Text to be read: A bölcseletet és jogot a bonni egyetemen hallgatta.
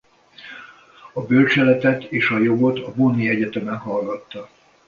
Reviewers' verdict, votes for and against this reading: rejected, 1, 2